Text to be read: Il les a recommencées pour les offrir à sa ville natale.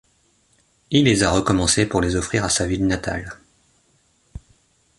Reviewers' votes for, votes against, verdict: 2, 0, accepted